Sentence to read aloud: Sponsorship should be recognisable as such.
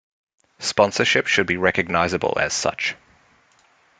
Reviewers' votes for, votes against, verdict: 2, 0, accepted